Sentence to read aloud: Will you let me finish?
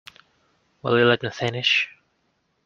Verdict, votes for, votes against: rejected, 0, 2